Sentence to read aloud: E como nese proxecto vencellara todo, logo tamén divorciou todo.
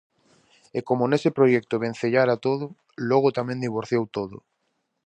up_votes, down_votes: 0, 2